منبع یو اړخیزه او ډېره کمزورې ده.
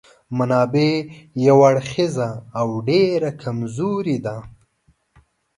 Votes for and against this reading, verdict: 1, 2, rejected